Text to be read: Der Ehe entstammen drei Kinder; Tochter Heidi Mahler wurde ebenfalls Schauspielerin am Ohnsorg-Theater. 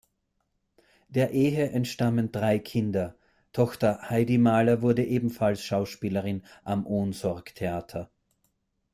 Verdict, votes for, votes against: accepted, 2, 0